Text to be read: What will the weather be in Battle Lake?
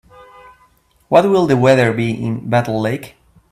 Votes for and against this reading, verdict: 3, 0, accepted